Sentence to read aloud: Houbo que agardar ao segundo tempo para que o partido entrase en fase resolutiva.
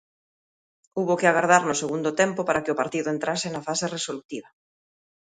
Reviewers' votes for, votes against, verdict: 0, 2, rejected